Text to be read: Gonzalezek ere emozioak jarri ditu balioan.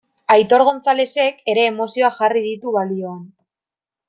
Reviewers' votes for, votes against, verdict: 0, 2, rejected